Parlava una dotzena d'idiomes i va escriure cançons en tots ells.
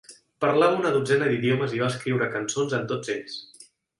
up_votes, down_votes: 2, 0